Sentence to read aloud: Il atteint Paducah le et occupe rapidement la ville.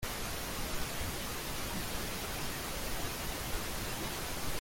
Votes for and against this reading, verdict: 0, 2, rejected